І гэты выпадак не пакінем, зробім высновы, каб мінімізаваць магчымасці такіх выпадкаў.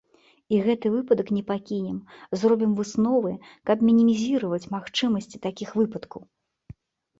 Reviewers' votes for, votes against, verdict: 0, 2, rejected